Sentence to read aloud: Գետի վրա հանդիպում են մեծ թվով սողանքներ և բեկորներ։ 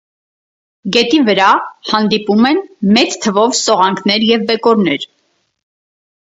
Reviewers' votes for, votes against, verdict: 4, 0, accepted